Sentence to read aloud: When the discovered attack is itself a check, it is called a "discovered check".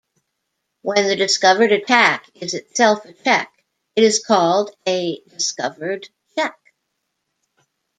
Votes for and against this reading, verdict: 1, 2, rejected